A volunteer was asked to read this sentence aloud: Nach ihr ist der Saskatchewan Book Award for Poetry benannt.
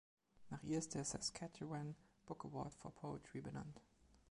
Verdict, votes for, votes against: accepted, 2, 1